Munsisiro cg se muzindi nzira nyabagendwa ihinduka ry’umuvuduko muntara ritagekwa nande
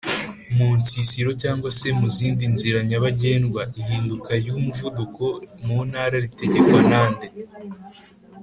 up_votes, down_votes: 2, 0